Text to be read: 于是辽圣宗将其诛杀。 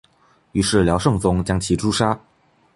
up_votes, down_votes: 2, 0